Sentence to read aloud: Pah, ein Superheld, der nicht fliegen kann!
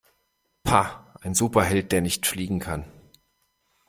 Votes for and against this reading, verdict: 2, 0, accepted